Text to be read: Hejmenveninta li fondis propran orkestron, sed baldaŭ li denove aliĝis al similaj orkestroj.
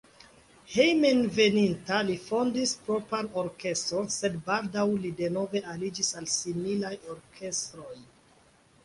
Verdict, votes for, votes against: accepted, 2, 0